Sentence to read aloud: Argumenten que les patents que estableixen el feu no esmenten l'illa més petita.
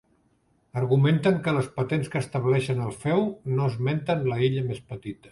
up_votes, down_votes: 1, 2